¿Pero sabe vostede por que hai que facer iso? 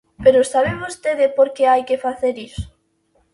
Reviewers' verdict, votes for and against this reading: accepted, 2, 0